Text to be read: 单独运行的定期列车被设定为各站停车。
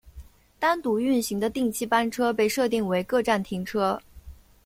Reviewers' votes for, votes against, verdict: 2, 0, accepted